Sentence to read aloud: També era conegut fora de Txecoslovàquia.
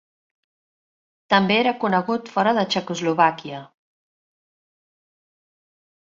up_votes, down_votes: 3, 0